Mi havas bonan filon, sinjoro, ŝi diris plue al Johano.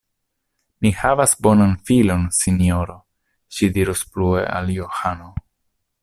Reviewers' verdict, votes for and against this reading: rejected, 0, 2